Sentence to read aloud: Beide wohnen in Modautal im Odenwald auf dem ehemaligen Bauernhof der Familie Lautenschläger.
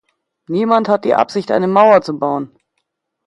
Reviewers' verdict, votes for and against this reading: rejected, 0, 2